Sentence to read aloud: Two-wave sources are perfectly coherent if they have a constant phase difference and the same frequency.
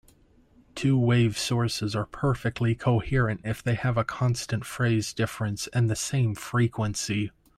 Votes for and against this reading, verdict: 0, 2, rejected